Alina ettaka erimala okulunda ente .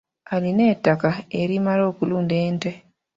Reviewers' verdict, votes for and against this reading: accepted, 2, 1